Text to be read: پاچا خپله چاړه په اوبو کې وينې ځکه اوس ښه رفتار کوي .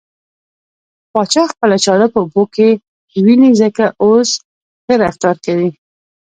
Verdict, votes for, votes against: rejected, 2, 3